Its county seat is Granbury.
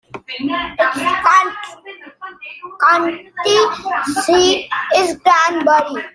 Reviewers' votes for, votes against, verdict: 0, 2, rejected